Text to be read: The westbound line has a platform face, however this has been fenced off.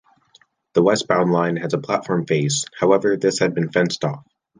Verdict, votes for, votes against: rejected, 1, 2